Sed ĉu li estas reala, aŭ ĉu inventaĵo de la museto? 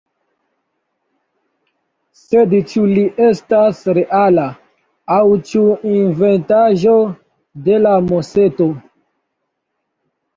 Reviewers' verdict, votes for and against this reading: rejected, 1, 2